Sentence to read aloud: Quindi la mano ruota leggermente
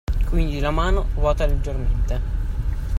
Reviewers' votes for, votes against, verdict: 2, 0, accepted